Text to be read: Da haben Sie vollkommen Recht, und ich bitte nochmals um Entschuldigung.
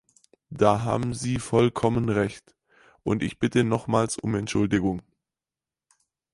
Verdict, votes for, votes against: accepted, 4, 0